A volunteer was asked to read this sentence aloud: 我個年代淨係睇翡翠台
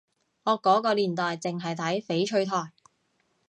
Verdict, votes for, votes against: rejected, 0, 2